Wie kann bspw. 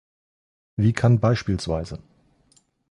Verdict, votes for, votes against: rejected, 1, 2